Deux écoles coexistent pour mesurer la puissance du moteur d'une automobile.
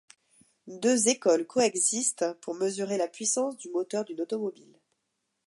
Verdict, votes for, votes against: accepted, 2, 0